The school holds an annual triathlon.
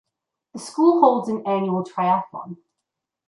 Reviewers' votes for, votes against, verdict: 2, 0, accepted